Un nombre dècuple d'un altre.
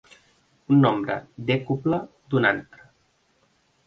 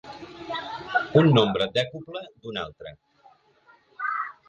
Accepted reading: first